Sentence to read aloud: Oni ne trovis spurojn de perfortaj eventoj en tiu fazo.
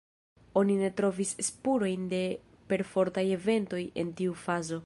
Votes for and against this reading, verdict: 0, 2, rejected